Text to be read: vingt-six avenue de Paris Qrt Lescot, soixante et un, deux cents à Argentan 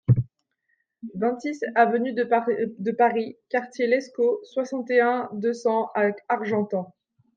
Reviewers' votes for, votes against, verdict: 0, 2, rejected